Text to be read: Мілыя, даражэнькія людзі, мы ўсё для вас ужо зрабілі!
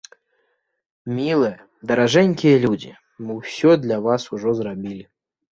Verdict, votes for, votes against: accepted, 2, 0